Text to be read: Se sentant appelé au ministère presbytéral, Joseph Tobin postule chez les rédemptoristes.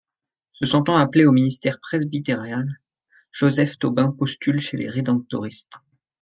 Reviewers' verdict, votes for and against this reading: rejected, 1, 2